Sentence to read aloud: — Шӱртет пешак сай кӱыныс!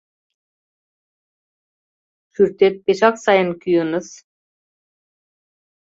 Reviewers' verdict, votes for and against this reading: rejected, 0, 2